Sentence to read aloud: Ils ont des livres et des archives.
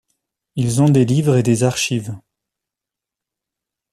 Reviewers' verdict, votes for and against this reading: accepted, 2, 0